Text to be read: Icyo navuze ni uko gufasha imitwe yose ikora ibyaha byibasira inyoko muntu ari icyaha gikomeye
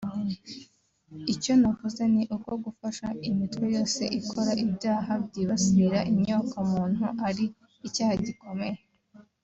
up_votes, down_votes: 2, 0